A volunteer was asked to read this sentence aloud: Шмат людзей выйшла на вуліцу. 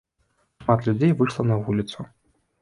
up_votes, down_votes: 2, 0